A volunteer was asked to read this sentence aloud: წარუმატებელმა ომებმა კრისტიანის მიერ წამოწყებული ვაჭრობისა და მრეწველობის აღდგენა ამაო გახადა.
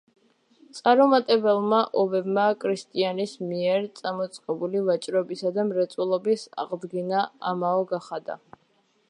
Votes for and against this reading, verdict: 2, 0, accepted